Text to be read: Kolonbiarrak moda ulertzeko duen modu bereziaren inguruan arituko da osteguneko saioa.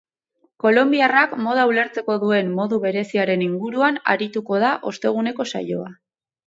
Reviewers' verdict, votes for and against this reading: accepted, 2, 0